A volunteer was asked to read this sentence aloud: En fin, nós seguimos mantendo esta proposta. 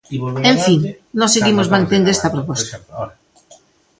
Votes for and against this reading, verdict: 1, 2, rejected